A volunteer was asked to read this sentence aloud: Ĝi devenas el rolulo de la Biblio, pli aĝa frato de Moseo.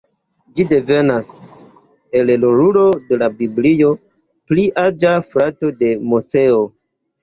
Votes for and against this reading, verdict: 2, 1, accepted